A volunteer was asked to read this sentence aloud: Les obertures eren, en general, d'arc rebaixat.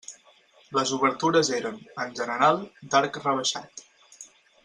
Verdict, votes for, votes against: accepted, 6, 0